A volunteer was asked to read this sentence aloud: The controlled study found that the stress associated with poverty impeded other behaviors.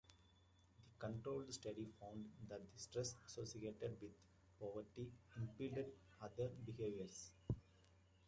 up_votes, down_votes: 1, 2